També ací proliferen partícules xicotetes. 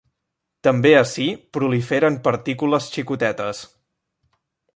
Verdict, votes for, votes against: accepted, 3, 0